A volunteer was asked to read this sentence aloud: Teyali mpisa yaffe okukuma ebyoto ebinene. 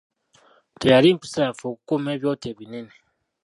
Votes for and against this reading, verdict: 0, 2, rejected